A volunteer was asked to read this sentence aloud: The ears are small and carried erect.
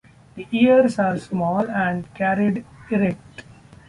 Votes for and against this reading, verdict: 2, 0, accepted